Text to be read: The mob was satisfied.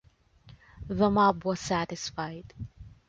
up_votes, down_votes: 2, 0